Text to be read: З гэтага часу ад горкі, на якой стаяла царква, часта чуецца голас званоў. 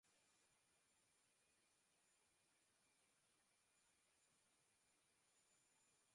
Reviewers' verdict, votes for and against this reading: rejected, 0, 3